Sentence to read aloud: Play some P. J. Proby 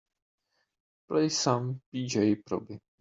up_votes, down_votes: 4, 1